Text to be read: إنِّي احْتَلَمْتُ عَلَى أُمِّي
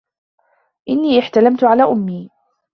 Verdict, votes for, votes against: accepted, 2, 0